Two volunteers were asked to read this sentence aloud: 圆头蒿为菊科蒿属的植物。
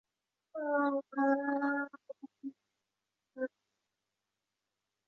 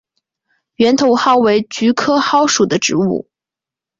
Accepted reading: second